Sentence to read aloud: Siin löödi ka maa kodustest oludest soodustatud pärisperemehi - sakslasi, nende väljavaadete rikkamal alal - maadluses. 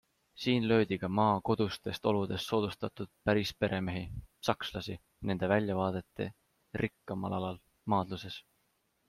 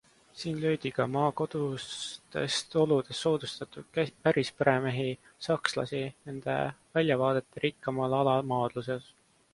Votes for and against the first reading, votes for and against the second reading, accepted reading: 2, 0, 0, 2, first